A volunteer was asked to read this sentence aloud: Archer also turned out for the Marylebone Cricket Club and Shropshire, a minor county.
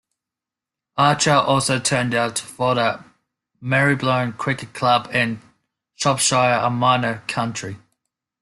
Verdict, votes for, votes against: rejected, 1, 2